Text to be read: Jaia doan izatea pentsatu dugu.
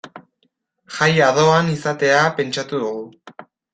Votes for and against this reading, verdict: 2, 0, accepted